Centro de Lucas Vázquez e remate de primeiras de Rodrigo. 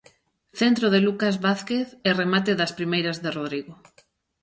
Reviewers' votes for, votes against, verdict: 1, 2, rejected